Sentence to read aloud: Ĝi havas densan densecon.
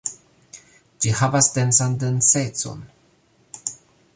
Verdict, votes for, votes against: rejected, 0, 2